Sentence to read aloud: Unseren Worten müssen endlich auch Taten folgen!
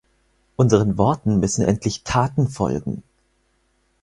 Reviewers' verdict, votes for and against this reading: rejected, 2, 4